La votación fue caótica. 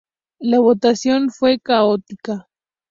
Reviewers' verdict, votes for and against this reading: accepted, 2, 0